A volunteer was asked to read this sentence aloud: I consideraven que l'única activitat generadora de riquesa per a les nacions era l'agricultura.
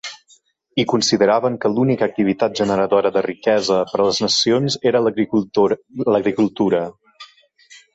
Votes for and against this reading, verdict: 0, 2, rejected